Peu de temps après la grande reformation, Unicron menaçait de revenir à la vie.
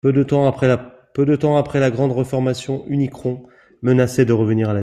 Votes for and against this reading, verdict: 0, 2, rejected